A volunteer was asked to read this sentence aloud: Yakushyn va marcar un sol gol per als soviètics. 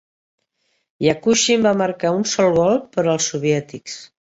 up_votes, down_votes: 2, 1